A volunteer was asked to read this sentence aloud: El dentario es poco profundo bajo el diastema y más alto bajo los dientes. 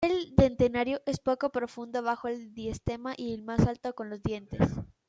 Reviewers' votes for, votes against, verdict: 0, 2, rejected